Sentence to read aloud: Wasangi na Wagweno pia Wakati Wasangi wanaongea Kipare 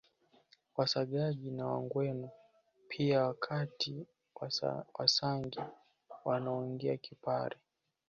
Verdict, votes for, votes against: rejected, 0, 2